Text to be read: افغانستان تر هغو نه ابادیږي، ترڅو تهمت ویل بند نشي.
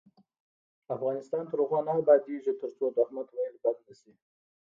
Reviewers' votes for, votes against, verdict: 1, 2, rejected